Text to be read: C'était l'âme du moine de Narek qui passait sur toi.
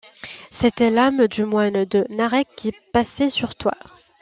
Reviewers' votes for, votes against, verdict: 2, 0, accepted